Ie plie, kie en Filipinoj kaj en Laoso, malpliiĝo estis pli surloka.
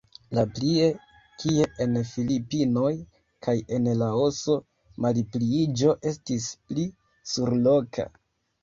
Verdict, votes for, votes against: rejected, 0, 2